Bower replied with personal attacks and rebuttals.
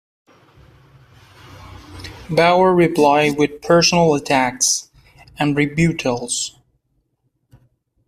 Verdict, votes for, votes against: accepted, 2, 0